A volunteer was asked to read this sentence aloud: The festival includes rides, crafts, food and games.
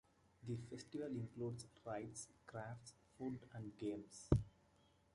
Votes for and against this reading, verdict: 0, 2, rejected